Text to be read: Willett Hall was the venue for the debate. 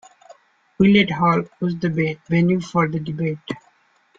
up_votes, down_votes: 2, 0